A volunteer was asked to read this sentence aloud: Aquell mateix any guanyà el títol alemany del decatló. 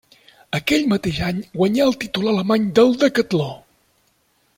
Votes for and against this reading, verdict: 2, 0, accepted